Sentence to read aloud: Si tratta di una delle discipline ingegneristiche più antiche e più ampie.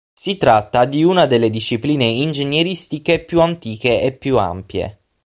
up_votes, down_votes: 6, 0